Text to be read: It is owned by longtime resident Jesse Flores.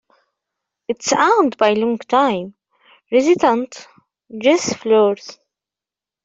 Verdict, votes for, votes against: rejected, 0, 2